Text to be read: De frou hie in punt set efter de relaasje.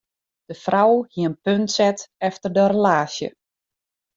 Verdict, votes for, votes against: accepted, 2, 0